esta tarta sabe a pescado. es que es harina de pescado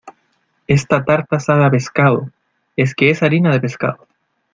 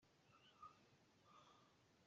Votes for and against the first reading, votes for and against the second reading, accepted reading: 2, 0, 0, 2, first